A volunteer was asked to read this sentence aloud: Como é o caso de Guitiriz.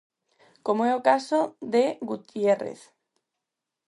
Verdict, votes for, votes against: rejected, 0, 4